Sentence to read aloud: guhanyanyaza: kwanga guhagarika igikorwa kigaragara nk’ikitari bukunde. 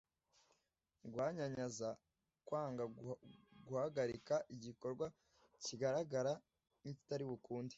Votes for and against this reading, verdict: 1, 2, rejected